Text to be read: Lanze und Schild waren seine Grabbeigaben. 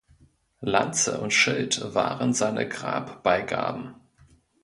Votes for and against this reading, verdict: 2, 0, accepted